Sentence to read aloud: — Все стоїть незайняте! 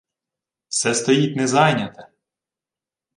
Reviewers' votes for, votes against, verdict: 2, 0, accepted